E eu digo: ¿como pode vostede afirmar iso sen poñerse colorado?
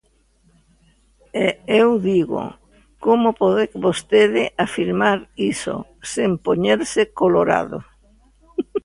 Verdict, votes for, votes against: rejected, 0, 2